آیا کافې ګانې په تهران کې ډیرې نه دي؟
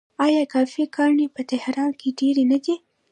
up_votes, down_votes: 0, 2